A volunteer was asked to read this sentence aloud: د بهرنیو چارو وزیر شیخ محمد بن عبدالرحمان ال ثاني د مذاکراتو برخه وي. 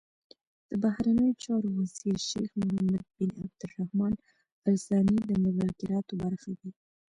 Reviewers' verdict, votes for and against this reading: rejected, 1, 2